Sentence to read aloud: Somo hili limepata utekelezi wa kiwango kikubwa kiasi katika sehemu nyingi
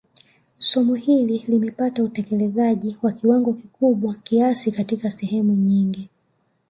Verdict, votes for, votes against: rejected, 1, 2